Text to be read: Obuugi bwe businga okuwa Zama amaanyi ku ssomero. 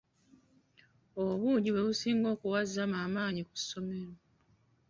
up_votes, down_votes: 2, 0